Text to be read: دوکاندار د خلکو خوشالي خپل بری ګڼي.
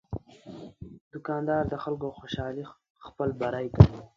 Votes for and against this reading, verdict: 1, 2, rejected